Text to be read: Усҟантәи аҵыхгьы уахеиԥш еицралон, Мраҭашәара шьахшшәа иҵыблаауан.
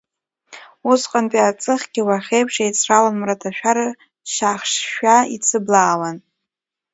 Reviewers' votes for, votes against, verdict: 0, 2, rejected